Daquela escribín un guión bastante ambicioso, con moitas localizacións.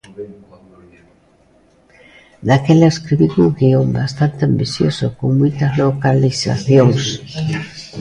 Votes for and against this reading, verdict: 1, 2, rejected